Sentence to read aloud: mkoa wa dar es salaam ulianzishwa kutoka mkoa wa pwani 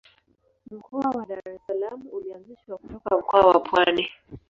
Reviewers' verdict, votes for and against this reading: rejected, 0, 2